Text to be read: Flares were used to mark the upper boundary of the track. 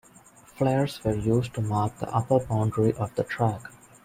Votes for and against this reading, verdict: 2, 0, accepted